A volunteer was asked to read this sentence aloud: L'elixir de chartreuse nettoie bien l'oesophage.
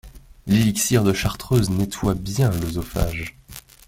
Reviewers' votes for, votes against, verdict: 2, 0, accepted